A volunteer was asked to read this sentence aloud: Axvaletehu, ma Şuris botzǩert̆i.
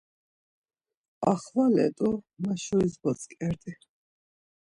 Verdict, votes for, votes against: rejected, 0, 2